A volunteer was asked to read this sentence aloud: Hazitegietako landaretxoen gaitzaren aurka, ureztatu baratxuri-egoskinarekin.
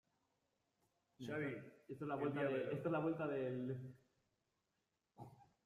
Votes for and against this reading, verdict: 0, 2, rejected